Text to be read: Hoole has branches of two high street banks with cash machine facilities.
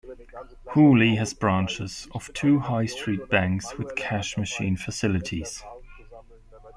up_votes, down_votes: 0, 2